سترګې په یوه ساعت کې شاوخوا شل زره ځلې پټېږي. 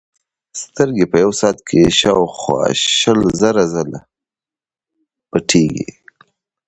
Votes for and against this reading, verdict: 2, 1, accepted